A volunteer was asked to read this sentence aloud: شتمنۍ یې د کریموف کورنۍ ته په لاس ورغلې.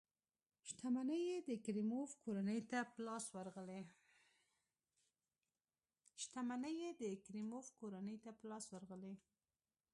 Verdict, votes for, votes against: rejected, 0, 2